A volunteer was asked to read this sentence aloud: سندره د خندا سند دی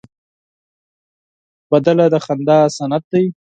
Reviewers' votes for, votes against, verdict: 4, 2, accepted